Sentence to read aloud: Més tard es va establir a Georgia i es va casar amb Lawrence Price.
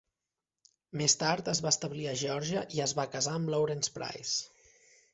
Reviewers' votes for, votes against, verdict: 3, 0, accepted